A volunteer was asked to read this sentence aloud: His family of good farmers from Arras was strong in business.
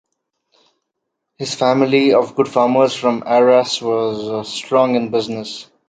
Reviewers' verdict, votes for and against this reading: accepted, 2, 1